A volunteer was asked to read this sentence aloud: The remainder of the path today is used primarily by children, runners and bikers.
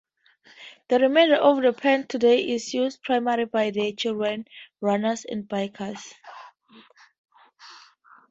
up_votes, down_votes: 2, 0